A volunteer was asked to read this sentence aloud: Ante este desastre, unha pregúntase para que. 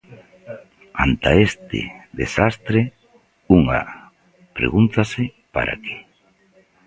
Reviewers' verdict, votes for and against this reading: rejected, 0, 2